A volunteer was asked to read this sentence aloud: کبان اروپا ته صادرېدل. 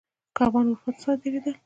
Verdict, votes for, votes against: accepted, 2, 0